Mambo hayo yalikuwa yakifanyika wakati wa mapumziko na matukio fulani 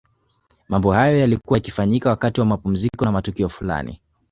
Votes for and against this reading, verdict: 2, 1, accepted